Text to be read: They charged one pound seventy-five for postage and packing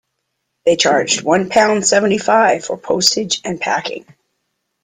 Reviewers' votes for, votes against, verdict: 2, 0, accepted